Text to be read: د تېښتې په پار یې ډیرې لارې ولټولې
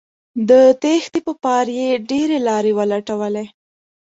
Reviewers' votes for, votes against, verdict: 2, 0, accepted